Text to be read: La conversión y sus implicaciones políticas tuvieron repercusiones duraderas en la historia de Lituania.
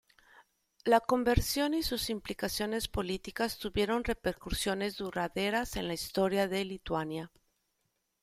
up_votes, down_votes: 2, 0